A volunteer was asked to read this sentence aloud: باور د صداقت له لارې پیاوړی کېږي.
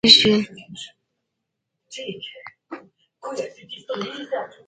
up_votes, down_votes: 1, 2